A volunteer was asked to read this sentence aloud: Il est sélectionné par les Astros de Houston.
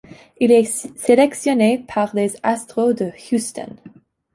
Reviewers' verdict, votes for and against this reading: rejected, 1, 2